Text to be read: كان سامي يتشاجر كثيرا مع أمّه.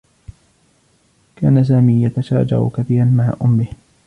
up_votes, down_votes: 1, 2